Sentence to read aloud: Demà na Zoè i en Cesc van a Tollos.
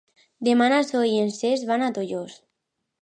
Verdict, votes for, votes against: accepted, 2, 0